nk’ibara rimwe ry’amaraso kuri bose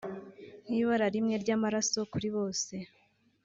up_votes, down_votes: 2, 0